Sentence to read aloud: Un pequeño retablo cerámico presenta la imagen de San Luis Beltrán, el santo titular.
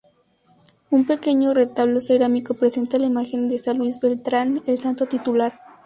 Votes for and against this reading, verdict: 2, 0, accepted